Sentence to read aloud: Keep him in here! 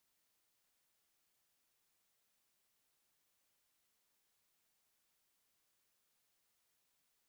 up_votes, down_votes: 0, 2